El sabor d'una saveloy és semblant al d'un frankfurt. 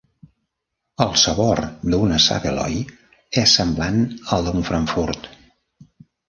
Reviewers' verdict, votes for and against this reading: accepted, 2, 0